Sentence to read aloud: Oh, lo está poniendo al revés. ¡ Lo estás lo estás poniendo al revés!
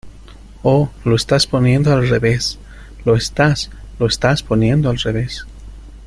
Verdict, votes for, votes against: rejected, 0, 2